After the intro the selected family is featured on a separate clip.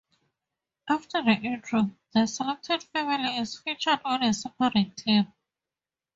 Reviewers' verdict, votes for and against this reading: rejected, 0, 2